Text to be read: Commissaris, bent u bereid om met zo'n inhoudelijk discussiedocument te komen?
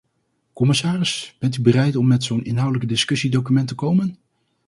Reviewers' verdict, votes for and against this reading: accepted, 2, 0